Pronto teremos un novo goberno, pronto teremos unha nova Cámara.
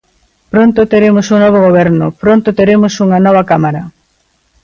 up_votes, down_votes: 2, 0